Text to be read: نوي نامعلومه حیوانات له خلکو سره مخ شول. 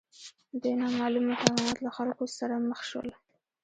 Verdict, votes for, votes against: accepted, 2, 0